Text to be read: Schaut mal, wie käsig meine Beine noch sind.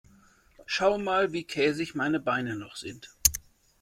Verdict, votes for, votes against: rejected, 1, 2